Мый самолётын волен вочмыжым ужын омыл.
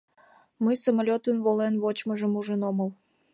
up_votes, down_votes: 2, 0